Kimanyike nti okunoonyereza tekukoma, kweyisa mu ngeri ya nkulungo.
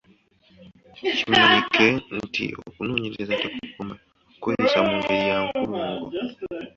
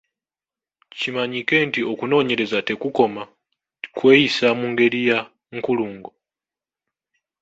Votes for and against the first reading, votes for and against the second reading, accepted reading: 1, 2, 2, 1, second